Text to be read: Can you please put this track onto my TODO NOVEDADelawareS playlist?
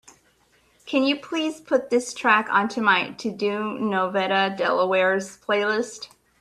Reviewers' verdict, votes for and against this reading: accepted, 2, 0